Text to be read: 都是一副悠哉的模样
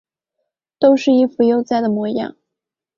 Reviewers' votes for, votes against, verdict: 2, 1, accepted